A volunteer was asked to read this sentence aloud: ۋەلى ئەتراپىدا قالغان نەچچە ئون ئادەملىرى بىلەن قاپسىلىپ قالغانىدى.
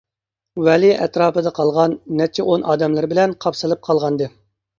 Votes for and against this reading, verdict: 2, 0, accepted